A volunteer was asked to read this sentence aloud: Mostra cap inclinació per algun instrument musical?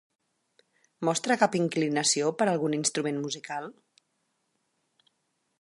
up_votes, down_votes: 6, 0